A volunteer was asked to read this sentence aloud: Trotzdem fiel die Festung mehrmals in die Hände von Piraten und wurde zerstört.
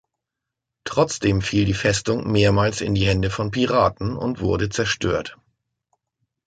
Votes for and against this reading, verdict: 2, 0, accepted